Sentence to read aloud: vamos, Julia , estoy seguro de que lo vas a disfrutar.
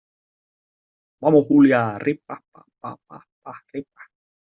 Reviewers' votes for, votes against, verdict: 0, 2, rejected